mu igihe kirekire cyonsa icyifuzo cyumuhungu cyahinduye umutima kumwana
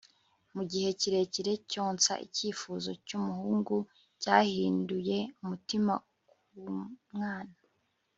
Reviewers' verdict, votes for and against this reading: accepted, 2, 1